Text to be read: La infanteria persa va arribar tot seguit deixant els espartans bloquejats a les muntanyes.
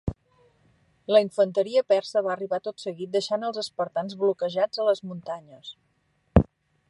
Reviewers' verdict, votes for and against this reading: accepted, 2, 0